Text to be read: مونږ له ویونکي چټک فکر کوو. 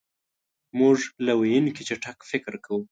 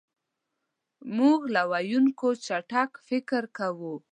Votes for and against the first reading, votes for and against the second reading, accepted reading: 2, 0, 0, 2, first